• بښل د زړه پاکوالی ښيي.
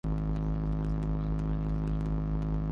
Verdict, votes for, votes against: rejected, 0, 2